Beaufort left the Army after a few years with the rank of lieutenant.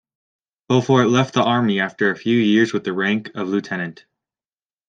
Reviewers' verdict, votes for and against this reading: accepted, 2, 0